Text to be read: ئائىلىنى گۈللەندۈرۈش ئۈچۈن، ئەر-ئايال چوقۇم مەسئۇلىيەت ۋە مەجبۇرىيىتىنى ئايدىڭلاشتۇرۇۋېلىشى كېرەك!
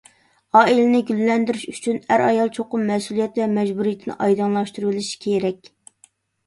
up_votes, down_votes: 2, 0